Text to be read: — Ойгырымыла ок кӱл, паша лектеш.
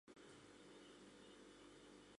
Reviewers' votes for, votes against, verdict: 1, 2, rejected